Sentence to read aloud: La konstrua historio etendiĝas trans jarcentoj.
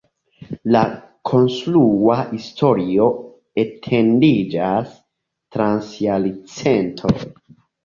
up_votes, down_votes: 1, 2